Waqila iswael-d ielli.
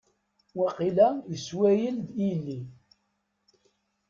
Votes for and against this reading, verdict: 0, 2, rejected